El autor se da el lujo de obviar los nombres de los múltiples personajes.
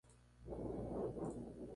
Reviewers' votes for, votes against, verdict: 0, 2, rejected